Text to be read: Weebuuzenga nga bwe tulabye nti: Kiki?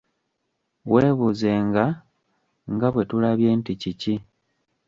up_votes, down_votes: 2, 1